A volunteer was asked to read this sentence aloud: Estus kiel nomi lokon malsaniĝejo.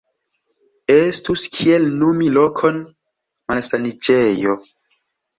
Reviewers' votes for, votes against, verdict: 2, 0, accepted